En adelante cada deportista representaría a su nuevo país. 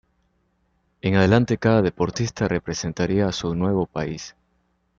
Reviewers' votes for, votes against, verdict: 2, 0, accepted